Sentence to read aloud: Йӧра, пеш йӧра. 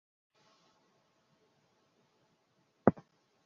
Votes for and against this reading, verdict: 0, 2, rejected